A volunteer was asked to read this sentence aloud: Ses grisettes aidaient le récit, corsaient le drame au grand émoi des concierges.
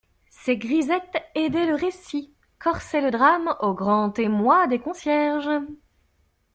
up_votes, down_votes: 2, 0